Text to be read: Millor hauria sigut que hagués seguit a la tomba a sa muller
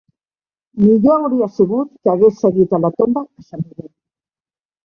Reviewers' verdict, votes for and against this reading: rejected, 0, 2